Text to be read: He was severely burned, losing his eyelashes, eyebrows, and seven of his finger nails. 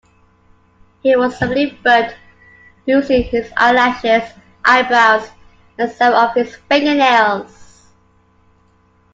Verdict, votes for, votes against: rejected, 0, 2